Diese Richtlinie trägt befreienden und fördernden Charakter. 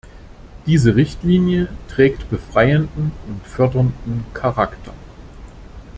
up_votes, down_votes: 2, 0